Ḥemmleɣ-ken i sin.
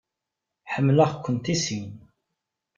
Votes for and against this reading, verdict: 0, 2, rejected